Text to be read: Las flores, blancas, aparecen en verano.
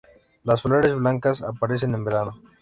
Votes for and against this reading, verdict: 2, 0, accepted